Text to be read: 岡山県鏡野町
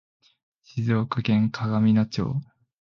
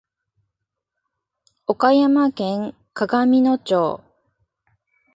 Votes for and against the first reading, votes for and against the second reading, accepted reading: 0, 2, 2, 0, second